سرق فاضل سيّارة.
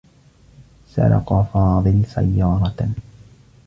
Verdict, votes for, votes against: accepted, 2, 1